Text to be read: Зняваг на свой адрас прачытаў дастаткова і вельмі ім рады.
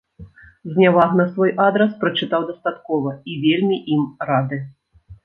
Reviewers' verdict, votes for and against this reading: accepted, 2, 0